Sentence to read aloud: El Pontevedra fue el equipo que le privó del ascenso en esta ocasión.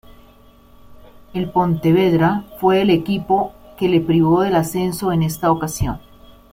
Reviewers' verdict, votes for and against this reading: accepted, 2, 0